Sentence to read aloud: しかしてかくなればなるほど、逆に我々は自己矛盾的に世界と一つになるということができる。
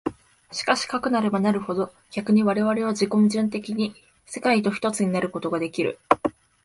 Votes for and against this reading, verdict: 2, 0, accepted